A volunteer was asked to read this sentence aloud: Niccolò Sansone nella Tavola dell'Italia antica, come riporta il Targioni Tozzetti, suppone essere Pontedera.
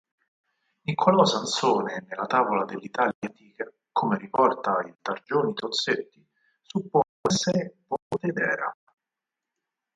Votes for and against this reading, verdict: 2, 4, rejected